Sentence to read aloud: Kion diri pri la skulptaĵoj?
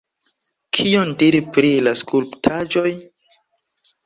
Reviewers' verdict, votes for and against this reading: accepted, 2, 0